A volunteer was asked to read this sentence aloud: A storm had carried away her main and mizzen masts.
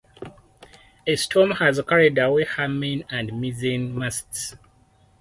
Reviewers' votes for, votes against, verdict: 2, 4, rejected